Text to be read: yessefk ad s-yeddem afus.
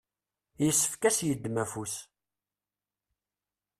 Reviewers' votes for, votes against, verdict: 2, 0, accepted